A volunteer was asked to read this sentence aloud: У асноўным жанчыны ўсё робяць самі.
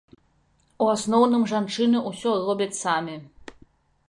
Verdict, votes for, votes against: rejected, 1, 2